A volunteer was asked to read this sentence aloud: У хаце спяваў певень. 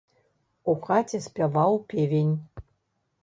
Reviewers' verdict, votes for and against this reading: accepted, 2, 0